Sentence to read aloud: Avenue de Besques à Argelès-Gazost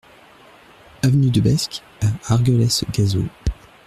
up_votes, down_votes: 1, 2